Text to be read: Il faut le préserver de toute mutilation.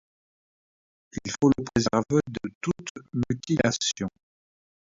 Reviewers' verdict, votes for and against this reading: rejected, 1, 2